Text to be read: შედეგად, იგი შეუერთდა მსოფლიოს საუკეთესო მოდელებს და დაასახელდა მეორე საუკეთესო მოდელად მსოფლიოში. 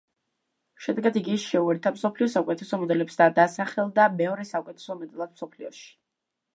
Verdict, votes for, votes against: accepted, 2, 1